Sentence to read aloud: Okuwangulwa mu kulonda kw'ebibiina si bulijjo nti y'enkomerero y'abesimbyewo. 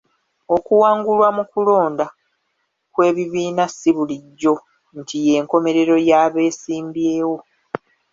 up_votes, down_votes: 3, 2